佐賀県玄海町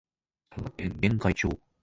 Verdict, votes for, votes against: rejected, 1, 2